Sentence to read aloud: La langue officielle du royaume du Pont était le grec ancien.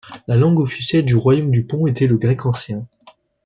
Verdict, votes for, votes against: accepted, 2, 0